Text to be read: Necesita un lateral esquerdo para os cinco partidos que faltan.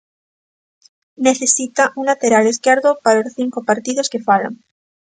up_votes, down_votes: 0, 2